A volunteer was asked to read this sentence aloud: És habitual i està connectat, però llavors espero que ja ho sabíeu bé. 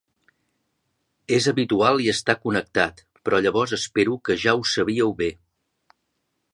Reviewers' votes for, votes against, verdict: 2, 1, accepted